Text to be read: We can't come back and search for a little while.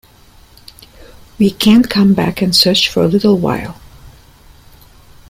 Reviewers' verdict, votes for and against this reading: accepted, 2, 0